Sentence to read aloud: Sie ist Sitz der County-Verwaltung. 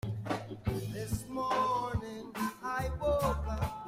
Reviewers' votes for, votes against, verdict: 0, 2, rejected